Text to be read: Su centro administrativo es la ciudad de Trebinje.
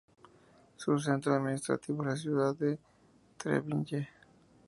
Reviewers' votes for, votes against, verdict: 2, 0, accepted